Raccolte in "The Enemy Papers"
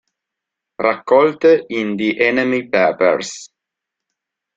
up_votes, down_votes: 1, 2